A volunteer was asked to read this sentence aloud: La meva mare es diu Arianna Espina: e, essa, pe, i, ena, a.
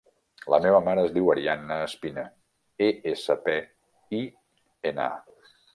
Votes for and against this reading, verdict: 0, 2, rejected